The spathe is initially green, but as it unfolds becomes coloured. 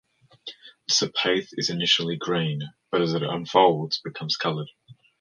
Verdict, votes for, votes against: rejected, 1, 2